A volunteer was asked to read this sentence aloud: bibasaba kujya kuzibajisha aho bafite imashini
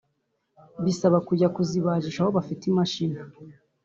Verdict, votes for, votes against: rejected, 0, 2